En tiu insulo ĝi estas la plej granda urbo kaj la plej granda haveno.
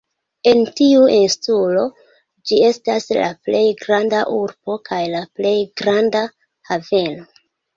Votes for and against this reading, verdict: 2, 1, accepted